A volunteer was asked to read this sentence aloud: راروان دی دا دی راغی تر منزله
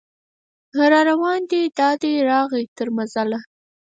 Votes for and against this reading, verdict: 0, 4, rejected